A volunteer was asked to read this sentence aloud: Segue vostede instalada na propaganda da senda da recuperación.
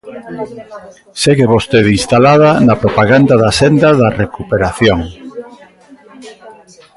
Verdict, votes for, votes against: rejected, 1, 2